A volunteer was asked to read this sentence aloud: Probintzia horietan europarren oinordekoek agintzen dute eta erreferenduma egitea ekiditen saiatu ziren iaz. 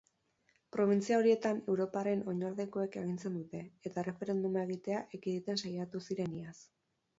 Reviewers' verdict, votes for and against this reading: accepted, 6, 0